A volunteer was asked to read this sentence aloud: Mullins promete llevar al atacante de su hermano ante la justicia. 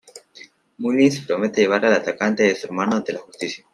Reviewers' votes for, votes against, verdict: 2, 0, accepted